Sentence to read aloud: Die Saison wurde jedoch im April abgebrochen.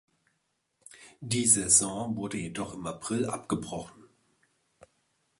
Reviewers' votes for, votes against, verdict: 2, 0, accepted